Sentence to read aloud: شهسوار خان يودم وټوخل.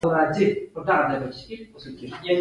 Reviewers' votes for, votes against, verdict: 2, 1, accepted